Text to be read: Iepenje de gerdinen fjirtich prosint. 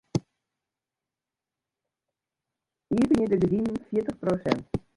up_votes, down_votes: 0, 2